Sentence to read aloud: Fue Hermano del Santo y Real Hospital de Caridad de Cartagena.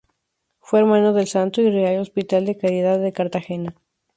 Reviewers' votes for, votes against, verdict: 2, 2, rejected